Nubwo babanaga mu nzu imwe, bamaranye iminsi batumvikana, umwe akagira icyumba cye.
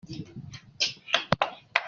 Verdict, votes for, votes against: rejected, 0, 2